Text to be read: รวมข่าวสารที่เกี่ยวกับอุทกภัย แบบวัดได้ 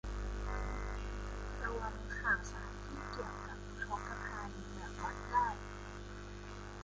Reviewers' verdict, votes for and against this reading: rejected, 0, 2